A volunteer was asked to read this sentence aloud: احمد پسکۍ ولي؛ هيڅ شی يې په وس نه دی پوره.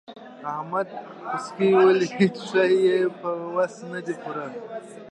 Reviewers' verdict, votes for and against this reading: accepted, 2, 0